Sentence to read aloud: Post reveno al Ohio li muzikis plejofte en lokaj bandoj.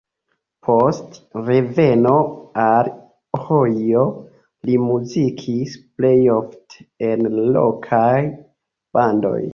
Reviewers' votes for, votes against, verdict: 1, 2, rejected